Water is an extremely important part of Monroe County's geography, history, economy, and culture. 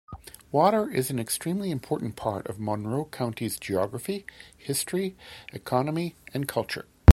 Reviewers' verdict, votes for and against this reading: accepted, 2, 0